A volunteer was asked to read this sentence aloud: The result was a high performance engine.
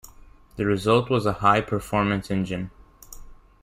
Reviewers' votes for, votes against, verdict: 2, 0, accepted